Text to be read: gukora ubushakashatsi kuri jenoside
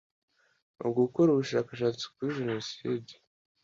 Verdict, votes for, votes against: accepted, 2, 0